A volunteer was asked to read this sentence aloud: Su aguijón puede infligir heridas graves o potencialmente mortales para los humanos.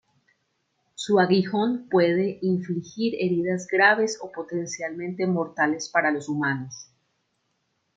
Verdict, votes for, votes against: accepted, 2, 0